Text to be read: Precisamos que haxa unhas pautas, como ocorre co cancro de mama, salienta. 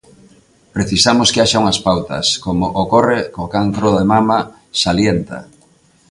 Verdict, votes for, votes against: accepted, 2, 0